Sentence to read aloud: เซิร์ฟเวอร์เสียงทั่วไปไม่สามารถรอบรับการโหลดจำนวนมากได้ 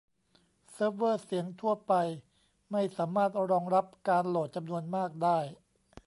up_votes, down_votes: 0, 3